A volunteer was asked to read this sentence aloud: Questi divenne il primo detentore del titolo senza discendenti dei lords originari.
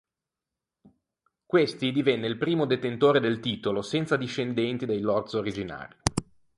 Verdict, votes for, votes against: accepted, 2, 0